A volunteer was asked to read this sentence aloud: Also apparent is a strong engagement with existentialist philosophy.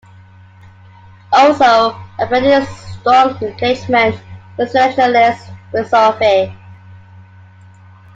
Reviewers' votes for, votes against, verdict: 2, 1, accepted